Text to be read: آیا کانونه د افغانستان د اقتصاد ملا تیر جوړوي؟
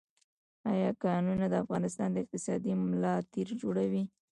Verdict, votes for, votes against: rejected, 1, 2